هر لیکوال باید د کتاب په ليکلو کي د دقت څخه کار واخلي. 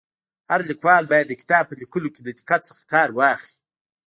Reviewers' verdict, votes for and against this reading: accepted, 2, 0